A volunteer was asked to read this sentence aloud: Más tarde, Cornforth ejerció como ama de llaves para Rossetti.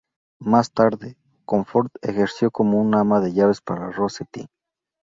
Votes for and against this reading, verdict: 0, 2, rejected